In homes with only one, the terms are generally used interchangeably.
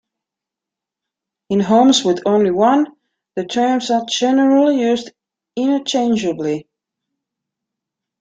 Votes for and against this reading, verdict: 1, 2, rejected